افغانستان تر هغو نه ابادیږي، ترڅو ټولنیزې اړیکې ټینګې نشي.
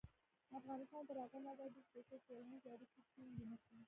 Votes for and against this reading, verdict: 1, 2, rejected